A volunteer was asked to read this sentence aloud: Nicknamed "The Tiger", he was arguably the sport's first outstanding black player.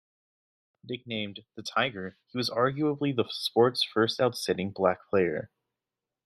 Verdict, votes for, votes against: accepted, 2, 0